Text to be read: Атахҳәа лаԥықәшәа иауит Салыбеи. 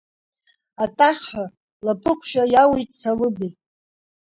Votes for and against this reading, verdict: 3, 0, accepted